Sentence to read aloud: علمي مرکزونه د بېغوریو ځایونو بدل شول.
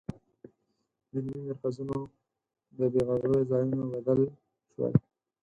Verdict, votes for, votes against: rejected, 2, 4